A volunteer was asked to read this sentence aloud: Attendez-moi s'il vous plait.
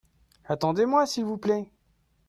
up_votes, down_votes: 2, 0